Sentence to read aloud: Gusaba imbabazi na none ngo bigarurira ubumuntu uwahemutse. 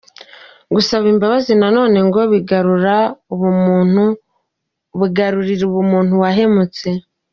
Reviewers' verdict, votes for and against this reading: rejected, 1, 2